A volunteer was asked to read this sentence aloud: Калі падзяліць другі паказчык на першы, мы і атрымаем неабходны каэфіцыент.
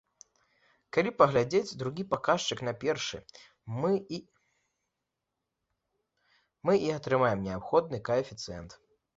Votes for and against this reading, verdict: 0, 2, rejected